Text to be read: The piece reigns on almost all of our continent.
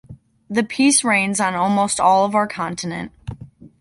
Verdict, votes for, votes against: accepted, 2, 0